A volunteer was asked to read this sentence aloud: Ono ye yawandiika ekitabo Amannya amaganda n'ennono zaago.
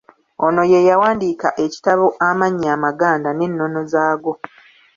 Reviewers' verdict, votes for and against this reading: accepted, 2, 0